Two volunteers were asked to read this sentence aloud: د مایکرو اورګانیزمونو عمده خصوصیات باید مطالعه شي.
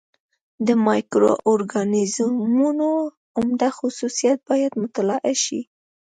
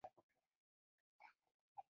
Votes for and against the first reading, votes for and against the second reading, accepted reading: 2, 0, 0, 2, first